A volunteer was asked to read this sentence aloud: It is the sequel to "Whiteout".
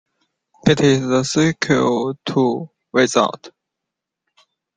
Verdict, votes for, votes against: rejected, 0, 2